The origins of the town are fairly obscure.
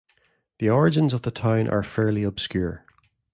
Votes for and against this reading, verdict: 2, 0, accepted